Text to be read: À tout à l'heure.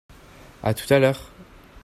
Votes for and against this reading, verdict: 2, 0, accepted